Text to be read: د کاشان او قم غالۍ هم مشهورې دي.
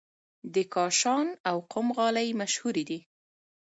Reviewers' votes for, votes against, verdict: 2, 0, accepted